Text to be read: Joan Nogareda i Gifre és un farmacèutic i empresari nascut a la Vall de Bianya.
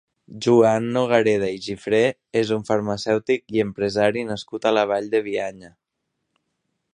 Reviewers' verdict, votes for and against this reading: rejected, 1, 2